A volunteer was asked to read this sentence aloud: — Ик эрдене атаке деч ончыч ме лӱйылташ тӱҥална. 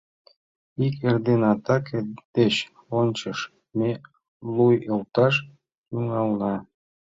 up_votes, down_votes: 1, 2